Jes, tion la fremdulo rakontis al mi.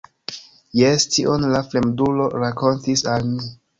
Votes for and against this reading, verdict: 2, 0, accepted